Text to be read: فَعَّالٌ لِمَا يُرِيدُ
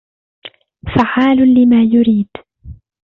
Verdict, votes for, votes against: accepted, 2, 1